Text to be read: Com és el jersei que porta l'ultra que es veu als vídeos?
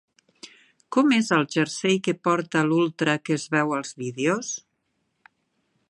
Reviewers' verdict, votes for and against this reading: accepted, 4, 0